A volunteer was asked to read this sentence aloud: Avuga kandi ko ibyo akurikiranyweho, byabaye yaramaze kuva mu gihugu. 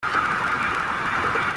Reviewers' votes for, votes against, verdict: 0, 2, rejected